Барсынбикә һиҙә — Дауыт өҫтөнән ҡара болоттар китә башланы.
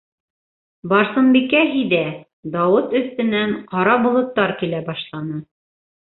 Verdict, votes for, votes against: rejected, 1, 2